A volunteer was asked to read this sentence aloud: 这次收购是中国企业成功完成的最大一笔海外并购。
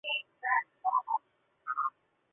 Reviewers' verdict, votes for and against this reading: rejected, 0, 5